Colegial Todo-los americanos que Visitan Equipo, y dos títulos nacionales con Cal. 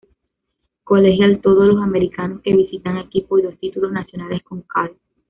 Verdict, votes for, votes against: rejected, 1, 2